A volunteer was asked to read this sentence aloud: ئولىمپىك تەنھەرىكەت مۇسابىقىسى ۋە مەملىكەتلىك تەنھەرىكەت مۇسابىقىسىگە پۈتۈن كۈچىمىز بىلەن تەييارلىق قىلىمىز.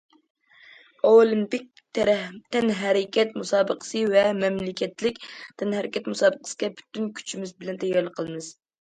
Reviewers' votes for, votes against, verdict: 0, 2, rejected